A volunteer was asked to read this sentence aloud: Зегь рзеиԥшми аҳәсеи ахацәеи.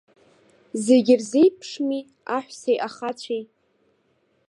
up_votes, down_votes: 2, 0